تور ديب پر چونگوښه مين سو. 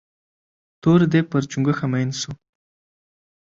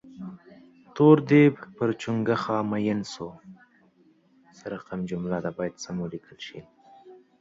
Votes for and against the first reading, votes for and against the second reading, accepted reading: 2, 0, 0, 2, first